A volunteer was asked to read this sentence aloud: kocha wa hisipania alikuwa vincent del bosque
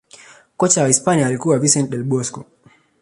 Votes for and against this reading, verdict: 2, 0, accepted